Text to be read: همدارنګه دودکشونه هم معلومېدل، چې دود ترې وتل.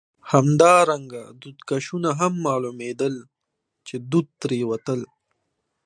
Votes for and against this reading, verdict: 2, 0, accepted